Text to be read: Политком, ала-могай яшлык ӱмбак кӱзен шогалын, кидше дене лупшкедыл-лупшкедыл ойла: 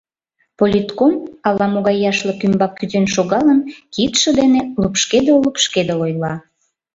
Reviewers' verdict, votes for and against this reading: accepted, 2, 0